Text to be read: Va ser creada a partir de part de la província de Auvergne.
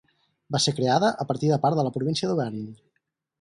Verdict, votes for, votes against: rejected, 2, 4